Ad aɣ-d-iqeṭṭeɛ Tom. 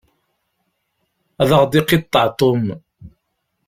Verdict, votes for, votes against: rejected, 1, 2